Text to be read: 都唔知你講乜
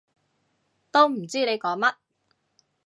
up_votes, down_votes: 2, 0